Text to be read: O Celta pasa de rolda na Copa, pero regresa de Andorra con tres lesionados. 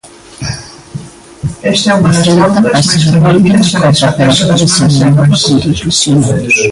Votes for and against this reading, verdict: 0, 2, rejected